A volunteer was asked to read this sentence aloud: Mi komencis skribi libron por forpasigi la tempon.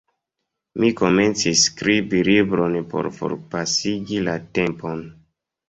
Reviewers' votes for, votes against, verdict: 2, 1, accepted